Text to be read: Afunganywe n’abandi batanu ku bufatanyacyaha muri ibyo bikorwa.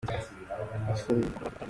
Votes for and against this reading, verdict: 0, 2, rejected